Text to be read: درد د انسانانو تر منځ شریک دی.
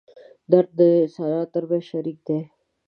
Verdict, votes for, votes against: accepted, 2, 0